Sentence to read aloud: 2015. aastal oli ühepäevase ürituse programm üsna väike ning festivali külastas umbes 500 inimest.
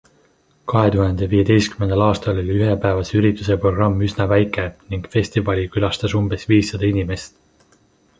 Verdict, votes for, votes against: rejected, 0, 2